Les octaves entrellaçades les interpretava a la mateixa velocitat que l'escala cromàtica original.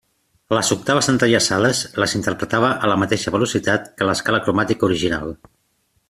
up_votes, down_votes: 2, 0